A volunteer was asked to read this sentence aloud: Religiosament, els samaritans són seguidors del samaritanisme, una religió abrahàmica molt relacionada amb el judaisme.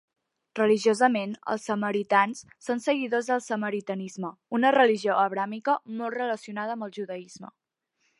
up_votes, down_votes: 3, 0